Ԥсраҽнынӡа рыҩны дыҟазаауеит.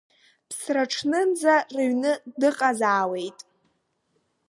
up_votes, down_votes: 2, 0